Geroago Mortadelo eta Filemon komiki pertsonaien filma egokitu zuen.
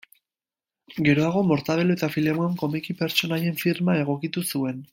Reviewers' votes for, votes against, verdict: 1, 2, rejected